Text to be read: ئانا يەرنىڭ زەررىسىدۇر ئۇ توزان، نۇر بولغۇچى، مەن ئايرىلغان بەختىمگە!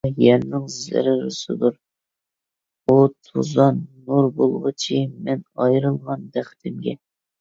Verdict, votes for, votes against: rejected, 1, 2